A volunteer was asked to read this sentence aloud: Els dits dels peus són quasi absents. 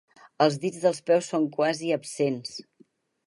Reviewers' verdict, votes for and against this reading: accepted, 4, 0